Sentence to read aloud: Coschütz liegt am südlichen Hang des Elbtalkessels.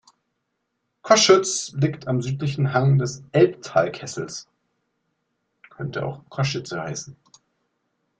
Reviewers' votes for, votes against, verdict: 0, 2, rejected